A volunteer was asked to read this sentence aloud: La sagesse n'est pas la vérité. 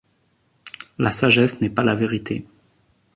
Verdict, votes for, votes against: rejected, 1, 2